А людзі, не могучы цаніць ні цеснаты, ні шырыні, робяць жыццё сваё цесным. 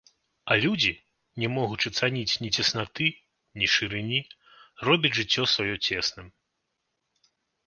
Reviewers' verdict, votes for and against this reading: accepted, 2, 0